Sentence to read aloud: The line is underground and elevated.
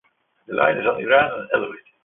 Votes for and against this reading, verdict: 2, 1, accepted